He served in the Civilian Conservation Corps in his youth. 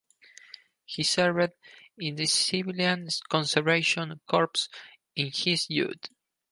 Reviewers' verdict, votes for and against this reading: rejected, 0, 4